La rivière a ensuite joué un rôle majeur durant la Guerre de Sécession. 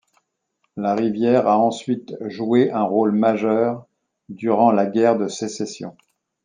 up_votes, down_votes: 2, 0